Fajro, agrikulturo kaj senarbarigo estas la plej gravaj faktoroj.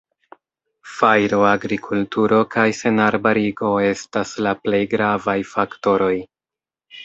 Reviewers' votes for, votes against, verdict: 2, 0, accepted